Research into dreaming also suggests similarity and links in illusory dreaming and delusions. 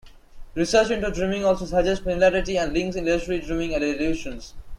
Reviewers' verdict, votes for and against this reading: rejected, 1, 2